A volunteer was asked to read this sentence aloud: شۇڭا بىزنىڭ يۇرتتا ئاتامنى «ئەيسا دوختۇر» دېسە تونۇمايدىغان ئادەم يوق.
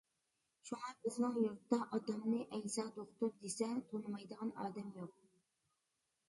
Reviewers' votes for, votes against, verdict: 0, 2, rejected